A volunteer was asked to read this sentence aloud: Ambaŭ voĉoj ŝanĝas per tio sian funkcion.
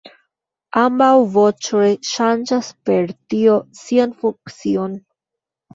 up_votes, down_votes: 2, 1